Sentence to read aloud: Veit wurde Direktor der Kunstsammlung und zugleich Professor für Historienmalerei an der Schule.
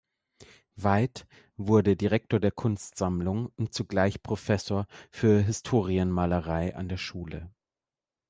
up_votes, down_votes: 1, 2